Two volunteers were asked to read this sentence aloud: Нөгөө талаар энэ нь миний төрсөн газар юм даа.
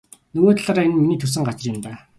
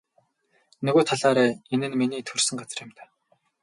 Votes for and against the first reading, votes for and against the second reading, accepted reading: 2, 0, 0, 2, first